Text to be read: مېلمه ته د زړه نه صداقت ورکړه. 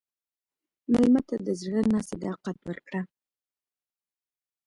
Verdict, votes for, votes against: rejected, 1, 2